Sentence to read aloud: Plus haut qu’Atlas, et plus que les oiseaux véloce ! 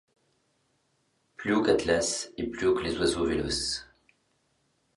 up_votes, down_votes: 0, 2